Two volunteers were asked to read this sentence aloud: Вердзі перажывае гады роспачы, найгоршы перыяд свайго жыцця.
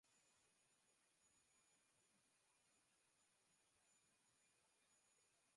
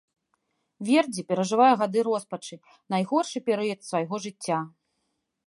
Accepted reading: second